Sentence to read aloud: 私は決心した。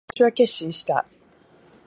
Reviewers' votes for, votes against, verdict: 1, 2, rejected